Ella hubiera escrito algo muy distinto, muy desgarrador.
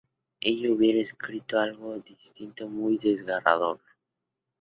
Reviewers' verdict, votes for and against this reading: rejected, 0, 2